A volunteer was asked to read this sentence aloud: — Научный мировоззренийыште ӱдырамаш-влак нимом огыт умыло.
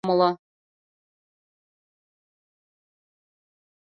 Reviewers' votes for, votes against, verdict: 0, 2, rejected